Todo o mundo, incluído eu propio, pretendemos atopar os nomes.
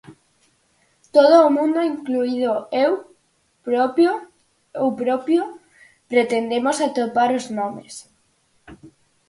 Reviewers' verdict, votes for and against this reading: rejected, 0, 4